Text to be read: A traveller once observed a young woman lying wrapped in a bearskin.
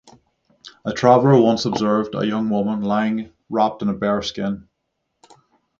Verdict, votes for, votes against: rejected, 3, 3